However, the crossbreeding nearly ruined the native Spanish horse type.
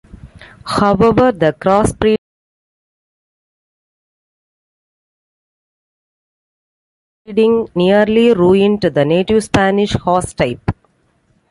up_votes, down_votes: 0, 4